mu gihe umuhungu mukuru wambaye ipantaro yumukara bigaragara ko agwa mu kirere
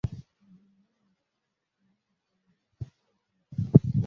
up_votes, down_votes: 0, 2